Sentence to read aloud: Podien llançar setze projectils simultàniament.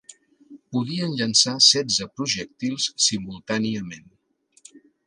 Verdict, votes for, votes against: accepted, 2, 0